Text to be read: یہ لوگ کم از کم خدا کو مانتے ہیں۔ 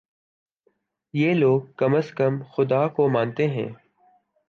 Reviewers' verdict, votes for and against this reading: accepted, 2, 0